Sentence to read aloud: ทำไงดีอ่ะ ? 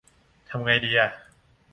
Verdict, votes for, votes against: accepted, 2, 0